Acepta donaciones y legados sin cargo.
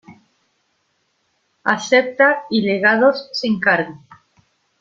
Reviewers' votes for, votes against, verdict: 0, 2, rejected